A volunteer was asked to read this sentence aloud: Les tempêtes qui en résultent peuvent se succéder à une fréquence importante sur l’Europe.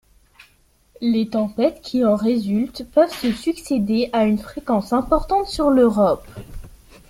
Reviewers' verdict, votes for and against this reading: accepted, 2, 0